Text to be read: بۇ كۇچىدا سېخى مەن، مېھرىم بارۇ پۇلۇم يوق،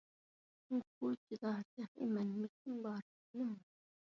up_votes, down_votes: 0, 2